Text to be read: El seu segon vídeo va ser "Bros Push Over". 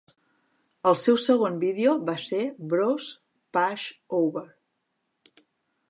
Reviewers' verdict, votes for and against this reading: accepted, 2, 0